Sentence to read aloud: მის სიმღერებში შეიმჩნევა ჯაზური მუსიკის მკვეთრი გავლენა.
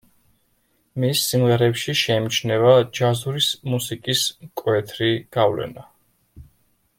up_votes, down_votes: 0, 2